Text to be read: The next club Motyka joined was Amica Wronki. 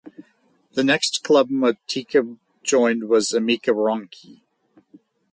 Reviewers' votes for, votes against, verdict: 4, 2, accepted